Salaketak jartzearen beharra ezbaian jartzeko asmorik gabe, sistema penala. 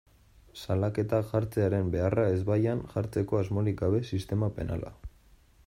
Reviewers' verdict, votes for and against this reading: rejected, 1, 2